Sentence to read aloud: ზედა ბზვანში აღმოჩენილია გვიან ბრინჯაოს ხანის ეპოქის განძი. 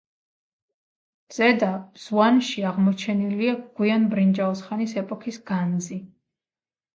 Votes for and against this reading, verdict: 2, 0, accepted